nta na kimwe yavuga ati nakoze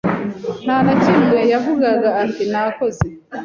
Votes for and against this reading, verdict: 0, 2, rejected